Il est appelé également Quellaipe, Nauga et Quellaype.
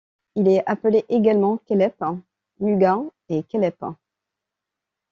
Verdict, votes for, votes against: rejected, 1, 2